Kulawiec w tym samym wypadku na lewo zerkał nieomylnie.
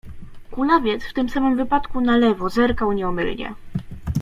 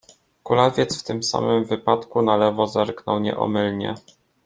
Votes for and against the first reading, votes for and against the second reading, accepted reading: 2, 0, 0, 2, first